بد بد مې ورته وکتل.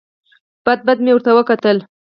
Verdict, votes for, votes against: rejected, 0, 4